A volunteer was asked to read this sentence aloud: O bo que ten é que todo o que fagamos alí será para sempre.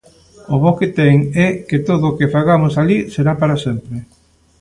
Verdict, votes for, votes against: accepted, 2, 0